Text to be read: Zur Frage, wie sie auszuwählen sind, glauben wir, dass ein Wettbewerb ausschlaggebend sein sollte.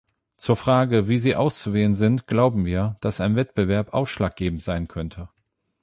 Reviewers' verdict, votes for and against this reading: rejected, 0, 8